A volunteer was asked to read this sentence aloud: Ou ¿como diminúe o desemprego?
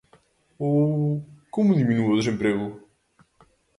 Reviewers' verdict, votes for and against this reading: accepted, 2, 0